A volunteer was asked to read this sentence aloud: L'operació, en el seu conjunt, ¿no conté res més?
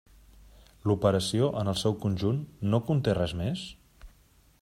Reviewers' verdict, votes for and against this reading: accepted, 3, 0